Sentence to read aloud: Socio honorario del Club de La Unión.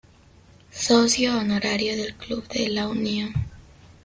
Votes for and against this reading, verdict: 2, 0, accepted